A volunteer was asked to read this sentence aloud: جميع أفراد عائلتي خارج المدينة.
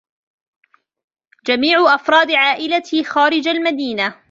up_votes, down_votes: 2, 0